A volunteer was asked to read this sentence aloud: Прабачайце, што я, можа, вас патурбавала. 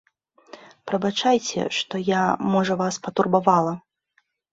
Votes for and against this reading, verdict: 2, 0, accepted